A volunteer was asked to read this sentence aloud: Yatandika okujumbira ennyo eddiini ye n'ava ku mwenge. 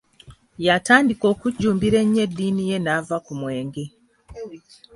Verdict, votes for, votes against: accepted, 2, 0